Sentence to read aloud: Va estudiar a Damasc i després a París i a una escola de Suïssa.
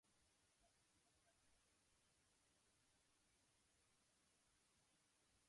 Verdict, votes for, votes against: rejected, 0, 2